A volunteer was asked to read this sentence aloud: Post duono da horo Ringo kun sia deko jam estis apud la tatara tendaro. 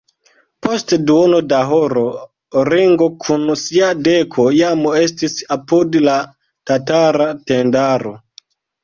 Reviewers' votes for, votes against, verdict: 0, 2, rejected